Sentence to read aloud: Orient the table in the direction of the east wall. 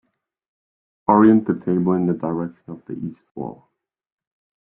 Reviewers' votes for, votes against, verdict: 0, 2, rejected